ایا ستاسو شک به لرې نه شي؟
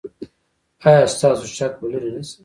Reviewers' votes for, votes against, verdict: 1, 2, rejected